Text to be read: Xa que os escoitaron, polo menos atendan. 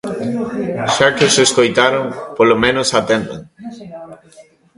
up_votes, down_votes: 1, 2